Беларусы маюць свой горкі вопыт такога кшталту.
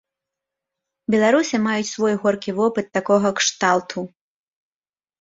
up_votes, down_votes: 2, 0